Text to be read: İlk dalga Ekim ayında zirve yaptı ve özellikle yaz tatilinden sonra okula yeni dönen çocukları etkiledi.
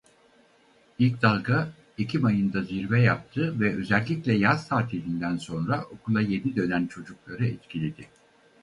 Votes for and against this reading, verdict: 2, 4, rejected